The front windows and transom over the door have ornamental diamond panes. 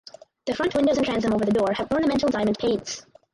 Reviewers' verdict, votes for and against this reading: rejected, 0, 4